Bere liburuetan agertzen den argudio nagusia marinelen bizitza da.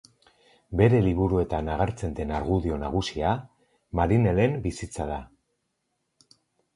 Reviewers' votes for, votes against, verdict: 4, 0, accepted